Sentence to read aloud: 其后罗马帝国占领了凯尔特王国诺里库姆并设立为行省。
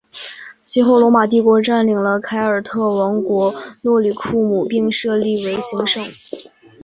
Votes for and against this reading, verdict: 2, 0, accepted